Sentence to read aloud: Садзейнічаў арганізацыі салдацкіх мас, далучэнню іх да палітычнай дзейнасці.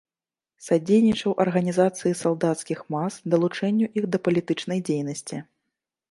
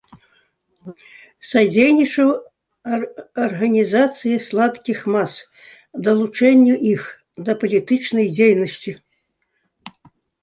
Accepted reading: first